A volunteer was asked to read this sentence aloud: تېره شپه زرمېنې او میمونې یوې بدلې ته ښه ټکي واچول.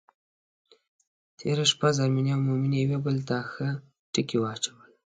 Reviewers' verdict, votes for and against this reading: accepted, 2, 1